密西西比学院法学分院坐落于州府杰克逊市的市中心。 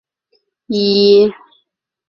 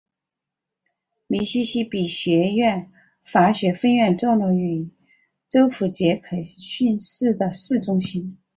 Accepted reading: second